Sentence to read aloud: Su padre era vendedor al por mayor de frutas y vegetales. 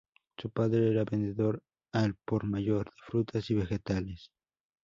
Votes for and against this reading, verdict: 0, 4, rejected